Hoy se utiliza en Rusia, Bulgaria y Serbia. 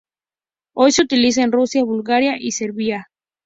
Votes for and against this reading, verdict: 2, 0, accepted